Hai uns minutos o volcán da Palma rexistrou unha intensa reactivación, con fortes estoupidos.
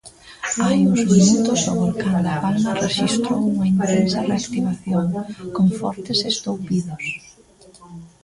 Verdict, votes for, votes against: rejected, 0, 2